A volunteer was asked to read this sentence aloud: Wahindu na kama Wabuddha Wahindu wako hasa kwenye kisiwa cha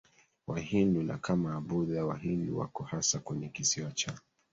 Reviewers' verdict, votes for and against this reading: rejected, 0, 3